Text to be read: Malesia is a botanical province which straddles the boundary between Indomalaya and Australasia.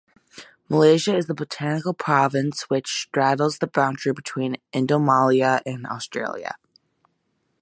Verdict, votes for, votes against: rejected, 0, 2